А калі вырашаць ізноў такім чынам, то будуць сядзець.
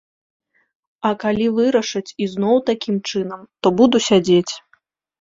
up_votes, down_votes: 0, 2